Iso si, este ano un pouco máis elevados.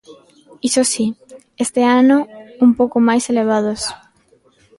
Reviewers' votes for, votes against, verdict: 0, 2, rejected